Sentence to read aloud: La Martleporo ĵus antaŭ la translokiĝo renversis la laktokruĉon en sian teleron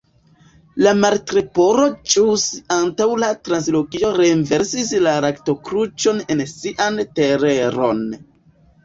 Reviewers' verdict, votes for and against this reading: rejected, 1, 2